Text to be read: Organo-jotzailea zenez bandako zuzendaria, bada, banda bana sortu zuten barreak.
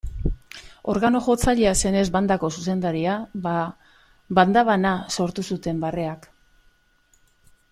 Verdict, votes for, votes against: accepted, 2, 0